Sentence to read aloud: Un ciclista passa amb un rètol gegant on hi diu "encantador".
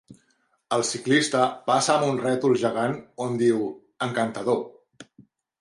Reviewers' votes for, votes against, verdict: 0, 3, rejected